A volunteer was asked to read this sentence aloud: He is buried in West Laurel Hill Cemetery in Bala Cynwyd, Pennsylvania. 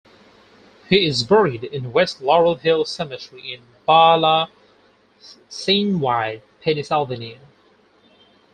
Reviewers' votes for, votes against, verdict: 2, 4, rejected